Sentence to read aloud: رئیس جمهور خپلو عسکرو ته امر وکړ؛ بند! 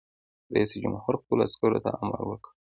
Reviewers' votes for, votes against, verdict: 2, 0, accepted